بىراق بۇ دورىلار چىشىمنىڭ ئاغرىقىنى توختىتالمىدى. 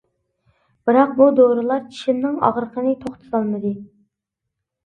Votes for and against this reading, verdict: 2, 0, accepted